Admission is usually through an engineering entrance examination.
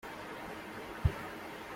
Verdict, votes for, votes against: rejected, 1, 2